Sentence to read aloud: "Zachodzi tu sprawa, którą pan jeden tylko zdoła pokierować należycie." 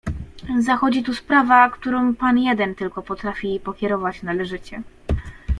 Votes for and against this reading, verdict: 1, 2, rejected